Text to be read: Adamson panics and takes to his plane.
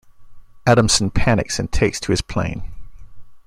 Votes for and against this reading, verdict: 2, 0, accepted